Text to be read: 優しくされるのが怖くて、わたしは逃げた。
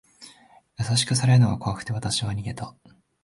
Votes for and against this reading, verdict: 2, 0, accepted